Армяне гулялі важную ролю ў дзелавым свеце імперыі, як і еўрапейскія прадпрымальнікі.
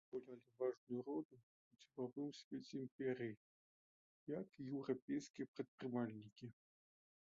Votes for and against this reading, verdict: 0, 2, rejected